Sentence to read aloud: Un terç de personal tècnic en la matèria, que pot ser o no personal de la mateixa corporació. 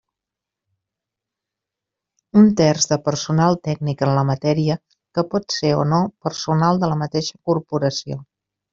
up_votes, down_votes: 3, 0